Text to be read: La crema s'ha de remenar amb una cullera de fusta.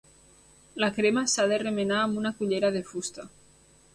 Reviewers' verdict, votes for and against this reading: accepted, 2, 0